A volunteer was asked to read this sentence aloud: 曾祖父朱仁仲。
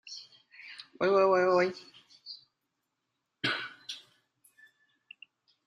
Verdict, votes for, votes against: rejected, 0, 2